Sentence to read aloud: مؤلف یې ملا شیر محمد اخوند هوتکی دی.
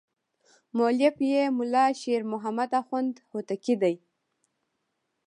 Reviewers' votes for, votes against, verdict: 1, 2, rejected